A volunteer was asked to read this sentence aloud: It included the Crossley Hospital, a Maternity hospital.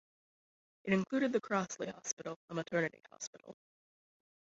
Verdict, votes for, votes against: rejected, 0, 2